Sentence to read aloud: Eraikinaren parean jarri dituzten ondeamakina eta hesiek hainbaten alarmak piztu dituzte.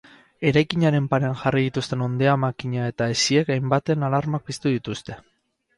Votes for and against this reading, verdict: 2, 0, accepted